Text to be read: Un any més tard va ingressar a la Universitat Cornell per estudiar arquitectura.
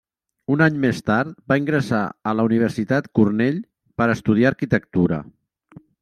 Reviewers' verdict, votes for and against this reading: rejected, 1, 2